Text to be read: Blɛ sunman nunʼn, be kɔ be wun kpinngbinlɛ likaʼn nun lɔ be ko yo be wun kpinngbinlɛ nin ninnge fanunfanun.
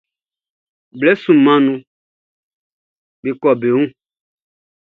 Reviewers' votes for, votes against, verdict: 0, 2, rejected